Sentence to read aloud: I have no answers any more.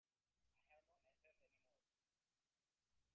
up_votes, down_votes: 1, 2